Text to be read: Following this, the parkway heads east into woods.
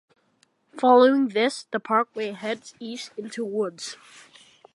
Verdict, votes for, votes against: accepted, 2, 0